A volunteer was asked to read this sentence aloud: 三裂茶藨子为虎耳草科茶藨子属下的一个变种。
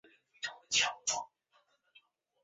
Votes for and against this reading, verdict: 0, 4, rejected